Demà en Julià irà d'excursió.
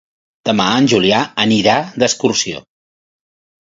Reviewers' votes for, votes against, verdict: 1, 2, rejected